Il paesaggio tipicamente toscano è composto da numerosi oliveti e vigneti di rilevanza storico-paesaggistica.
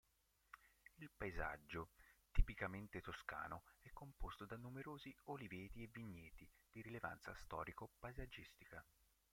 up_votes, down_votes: 0, 2